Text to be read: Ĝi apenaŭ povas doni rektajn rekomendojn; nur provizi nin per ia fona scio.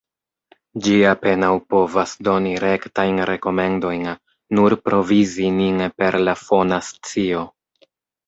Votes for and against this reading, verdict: 1, 2, rejected